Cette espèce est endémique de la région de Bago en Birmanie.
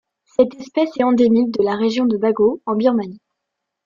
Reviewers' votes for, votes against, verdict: 2, 0, accepted